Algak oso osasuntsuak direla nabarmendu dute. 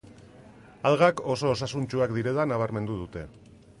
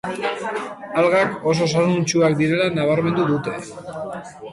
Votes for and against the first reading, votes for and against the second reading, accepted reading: 2, 0, 0, 2, first